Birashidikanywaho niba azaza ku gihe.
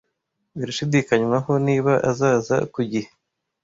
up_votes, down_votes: 2, 0